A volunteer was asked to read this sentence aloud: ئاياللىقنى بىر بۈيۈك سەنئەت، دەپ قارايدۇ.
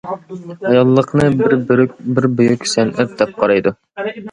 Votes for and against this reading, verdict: 0, 2, rejected